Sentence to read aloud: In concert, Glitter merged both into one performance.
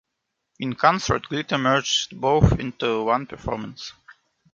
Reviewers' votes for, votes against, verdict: 2, 1, accepted